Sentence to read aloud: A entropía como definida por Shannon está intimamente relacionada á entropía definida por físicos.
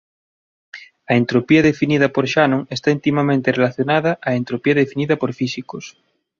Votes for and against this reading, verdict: 1, 2, rejected